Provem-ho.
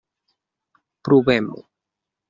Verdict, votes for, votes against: accepted, 3, 0